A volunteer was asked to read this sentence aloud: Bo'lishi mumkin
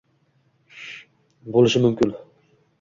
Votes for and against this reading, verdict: 2, 0, accepted